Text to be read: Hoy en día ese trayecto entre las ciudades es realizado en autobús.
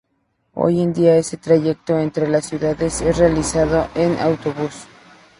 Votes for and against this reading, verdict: 2, 0, accepted